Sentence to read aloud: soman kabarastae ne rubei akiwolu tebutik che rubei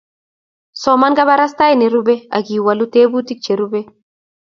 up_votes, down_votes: 2, 0